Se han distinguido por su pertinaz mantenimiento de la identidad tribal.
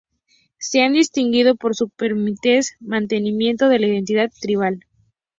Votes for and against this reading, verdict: 0, 2, rejected